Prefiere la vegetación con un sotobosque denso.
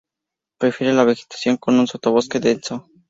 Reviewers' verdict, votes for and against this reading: accepted, 2, 0